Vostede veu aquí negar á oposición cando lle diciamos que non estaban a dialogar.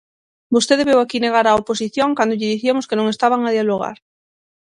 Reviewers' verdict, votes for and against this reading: rejected, 3, 6